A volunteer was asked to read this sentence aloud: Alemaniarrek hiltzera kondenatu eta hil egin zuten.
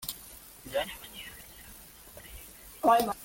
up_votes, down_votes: 0, 2